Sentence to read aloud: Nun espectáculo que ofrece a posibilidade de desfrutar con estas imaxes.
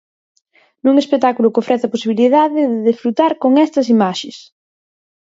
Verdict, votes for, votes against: accepted, 4, 0